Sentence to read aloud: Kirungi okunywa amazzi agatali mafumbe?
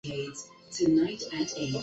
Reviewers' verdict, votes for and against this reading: rejected, 0, 2